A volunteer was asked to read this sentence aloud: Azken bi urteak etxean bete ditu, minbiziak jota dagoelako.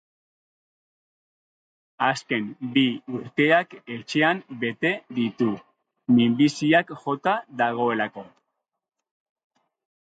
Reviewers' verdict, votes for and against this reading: accepted, 2, 0